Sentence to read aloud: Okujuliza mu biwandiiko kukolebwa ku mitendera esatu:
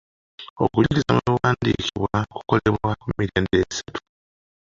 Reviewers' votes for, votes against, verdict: 0, 2, rejected